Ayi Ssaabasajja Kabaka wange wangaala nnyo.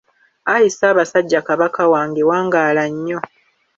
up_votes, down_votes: 2, 0